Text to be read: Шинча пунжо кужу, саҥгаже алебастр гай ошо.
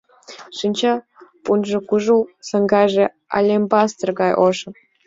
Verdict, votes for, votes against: accepted, 2, 0